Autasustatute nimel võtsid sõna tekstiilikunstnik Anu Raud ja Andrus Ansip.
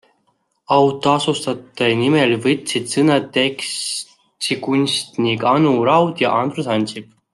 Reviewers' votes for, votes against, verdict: 0, 2, rejected